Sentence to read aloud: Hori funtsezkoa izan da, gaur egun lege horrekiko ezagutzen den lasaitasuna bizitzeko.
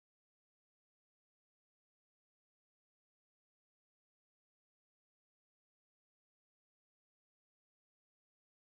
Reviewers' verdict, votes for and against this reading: rejected, 0, 3